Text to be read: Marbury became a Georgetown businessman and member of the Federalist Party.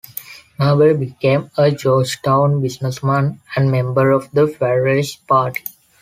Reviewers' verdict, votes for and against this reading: accepted, 2, 0